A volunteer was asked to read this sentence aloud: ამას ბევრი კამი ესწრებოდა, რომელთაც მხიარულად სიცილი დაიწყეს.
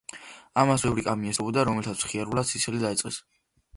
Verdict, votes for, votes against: accepted, 2, 0